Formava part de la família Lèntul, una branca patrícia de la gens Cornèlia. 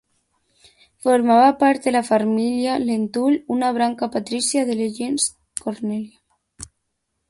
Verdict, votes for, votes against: rejected, 0, 2